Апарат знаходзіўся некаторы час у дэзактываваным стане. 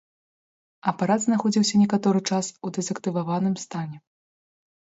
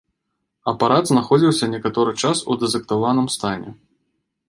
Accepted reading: first